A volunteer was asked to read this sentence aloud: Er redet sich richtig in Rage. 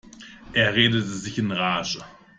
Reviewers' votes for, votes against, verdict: 1, 2, rejected